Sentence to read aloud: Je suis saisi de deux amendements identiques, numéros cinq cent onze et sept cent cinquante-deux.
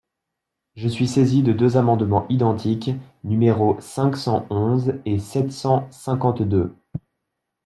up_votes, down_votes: 2, 0